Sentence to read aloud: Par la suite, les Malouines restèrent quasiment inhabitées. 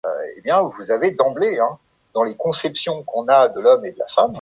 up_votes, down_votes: 0, 2